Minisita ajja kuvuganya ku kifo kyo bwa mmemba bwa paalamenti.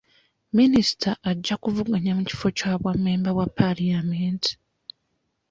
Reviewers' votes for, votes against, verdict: 0, 2, rejected